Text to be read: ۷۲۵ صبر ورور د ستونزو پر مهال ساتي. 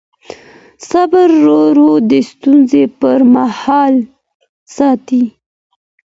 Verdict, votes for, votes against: rejected, 0, 2